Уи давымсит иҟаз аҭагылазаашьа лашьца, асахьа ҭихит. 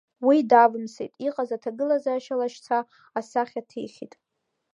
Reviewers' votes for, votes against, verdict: 2, 0, accepted